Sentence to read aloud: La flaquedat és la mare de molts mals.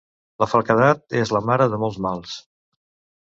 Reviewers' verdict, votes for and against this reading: accepted, 2, 1